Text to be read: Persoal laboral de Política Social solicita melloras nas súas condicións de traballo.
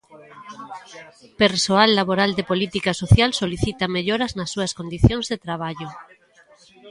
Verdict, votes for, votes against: accepted, 2, 1